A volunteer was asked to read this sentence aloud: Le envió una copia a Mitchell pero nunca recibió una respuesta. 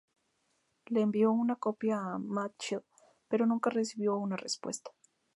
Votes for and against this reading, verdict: 2, 2, rejected